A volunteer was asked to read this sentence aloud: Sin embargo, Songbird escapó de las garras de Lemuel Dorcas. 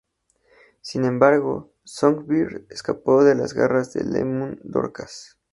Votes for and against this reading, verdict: 2, 0, accepted